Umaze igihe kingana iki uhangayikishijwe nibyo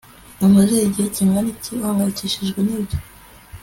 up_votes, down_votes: 4, 0